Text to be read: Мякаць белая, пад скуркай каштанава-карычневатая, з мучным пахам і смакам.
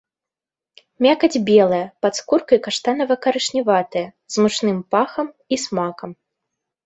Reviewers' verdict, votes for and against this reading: accepted, 2, 0